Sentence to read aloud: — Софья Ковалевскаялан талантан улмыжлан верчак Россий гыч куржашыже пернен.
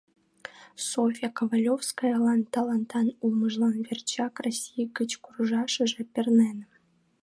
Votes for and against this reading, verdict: 1, 2, rejected